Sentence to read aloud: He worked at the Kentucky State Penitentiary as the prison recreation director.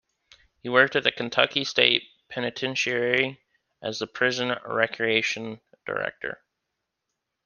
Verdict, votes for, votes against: accepted, 2, 0